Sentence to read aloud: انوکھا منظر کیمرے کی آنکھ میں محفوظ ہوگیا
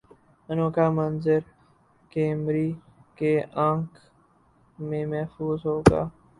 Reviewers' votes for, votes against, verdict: 2, 6, rejected